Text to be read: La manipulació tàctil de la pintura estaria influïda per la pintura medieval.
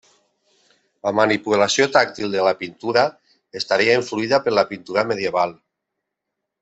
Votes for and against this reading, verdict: 3, 0, accepted